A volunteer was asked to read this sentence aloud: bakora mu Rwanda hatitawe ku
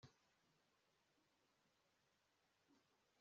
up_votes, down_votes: 1, 2